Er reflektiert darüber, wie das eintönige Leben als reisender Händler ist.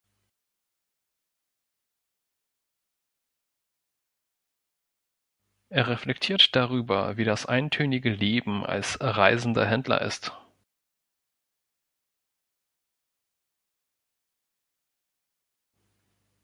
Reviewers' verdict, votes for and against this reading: rejected, 1, 2